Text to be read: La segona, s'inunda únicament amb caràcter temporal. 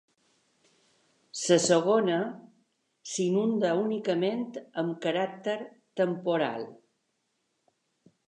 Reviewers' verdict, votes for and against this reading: rejected, 1, 2